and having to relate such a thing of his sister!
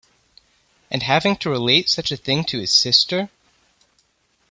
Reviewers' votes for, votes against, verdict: 1, 2, rejected